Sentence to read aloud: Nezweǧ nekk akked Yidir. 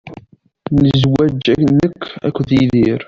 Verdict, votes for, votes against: rejected, 0, 2